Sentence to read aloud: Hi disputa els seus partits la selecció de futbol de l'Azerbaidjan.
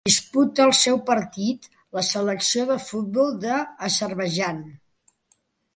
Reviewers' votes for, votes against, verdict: 1, 2, rejected